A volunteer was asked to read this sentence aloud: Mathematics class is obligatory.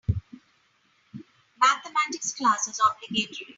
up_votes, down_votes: 2, 3